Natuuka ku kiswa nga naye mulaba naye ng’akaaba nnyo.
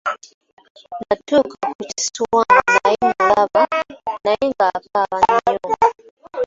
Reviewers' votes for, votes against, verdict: 2, 1, accepted